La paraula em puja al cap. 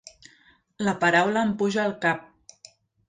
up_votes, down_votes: 2, 0